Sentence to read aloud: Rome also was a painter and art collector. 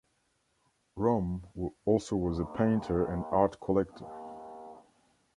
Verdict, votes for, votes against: accepted, 2, 0